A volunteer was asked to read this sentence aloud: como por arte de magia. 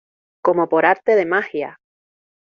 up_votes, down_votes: 2, 0